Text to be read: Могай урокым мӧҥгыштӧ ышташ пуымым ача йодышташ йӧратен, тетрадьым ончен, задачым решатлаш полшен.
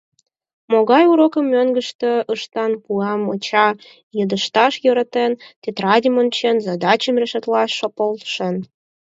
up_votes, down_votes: 0, 4